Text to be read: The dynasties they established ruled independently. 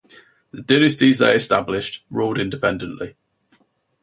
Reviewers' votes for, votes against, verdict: 2, 2, rejected